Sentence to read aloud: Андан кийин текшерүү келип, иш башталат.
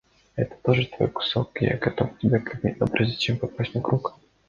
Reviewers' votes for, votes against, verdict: 0, 2, rejected